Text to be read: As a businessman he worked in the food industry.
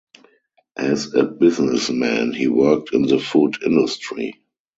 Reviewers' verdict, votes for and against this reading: rejected, 2, 2